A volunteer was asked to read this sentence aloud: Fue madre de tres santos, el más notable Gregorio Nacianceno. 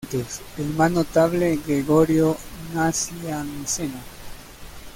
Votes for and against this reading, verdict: 1, 2, rejected